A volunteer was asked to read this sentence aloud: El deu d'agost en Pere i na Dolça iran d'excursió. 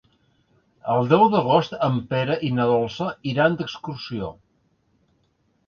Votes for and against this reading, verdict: 3, 0, accepted